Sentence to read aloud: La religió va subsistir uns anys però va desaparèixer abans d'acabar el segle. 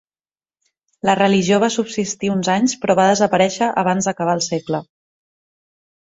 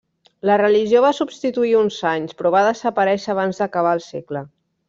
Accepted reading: first